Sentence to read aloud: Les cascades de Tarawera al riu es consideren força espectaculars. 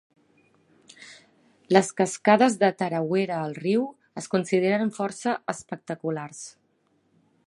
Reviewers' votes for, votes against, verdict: 2, 0, accepted